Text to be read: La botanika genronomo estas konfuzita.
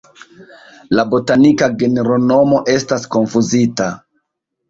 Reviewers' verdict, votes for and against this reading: rejected, 1, 2